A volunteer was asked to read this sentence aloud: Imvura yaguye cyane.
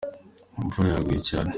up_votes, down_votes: 3, 1